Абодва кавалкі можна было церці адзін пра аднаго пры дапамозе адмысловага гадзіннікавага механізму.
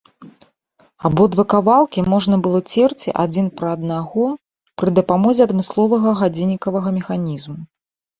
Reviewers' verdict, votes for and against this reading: accepted, 2, 0